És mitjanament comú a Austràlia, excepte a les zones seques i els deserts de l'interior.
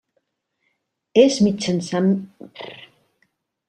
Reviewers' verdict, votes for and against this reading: rejected, 0, 2